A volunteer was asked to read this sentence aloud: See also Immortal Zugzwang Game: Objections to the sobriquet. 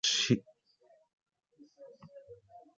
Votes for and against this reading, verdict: 0, 2, rejected